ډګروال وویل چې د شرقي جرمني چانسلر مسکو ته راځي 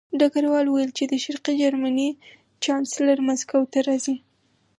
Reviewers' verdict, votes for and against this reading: accepted, 4, 0